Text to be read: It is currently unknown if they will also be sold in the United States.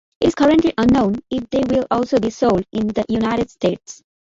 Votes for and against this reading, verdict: 2, 1, accepted